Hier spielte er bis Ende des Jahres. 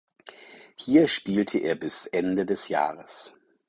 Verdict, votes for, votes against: accepted, 4, 0